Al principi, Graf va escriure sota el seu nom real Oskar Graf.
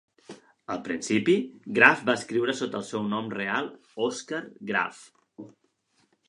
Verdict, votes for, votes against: accepted, 2, 0